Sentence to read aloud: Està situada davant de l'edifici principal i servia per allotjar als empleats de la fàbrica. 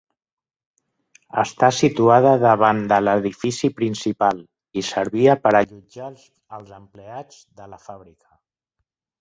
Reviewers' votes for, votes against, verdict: 3, 0, accepted